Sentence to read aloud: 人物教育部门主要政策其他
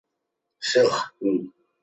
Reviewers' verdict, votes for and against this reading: rejected, 1, 2